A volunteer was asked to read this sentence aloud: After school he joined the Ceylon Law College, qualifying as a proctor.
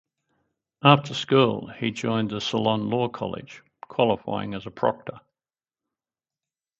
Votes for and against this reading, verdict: 4, 0, accepted